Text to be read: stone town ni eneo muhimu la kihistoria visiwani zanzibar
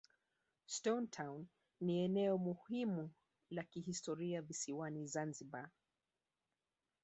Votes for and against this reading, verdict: 2, 0, accepted